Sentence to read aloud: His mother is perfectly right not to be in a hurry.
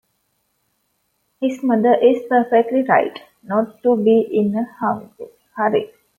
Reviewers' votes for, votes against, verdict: 0, 2, rejected